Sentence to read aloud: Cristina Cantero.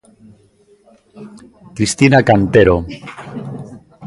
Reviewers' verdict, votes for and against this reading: rejected, 1, 2